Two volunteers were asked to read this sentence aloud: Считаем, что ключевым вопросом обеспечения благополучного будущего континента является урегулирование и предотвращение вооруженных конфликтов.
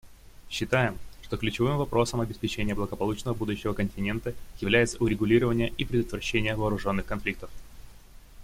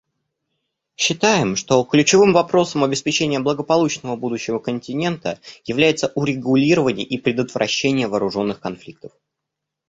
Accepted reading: first